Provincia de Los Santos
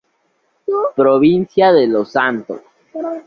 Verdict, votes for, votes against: accepted, 2, 0